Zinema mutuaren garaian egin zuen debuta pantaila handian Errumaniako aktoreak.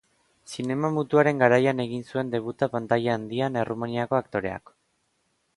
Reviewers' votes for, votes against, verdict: 2, 0, accepted